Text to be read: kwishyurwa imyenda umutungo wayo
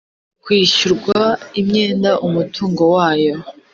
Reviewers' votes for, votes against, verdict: 4, 0, accepted